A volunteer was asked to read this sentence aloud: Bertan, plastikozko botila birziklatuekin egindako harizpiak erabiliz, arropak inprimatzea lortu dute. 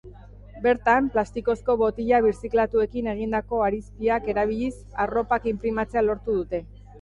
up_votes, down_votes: 2, 1